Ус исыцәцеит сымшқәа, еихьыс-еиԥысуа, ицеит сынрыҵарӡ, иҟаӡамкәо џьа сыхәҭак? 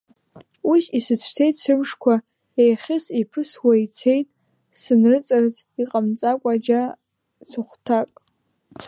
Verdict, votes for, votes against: rejected, 1, 2